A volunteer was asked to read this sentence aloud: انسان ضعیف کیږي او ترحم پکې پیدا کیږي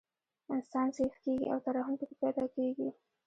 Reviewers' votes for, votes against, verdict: 1, 2, rejected